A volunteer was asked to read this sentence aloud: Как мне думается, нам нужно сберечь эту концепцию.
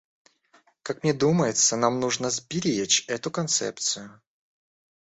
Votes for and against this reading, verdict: 2, 0, accepted